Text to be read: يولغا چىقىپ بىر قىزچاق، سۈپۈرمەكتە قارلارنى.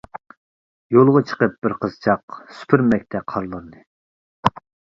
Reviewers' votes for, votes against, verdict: 2, 0, accepted